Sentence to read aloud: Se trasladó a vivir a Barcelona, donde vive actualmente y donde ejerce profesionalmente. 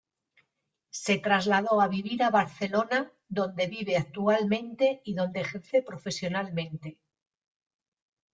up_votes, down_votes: 2, 0